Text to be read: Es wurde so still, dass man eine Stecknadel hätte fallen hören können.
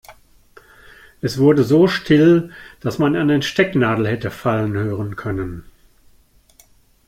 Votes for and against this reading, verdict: 1, 2, rejected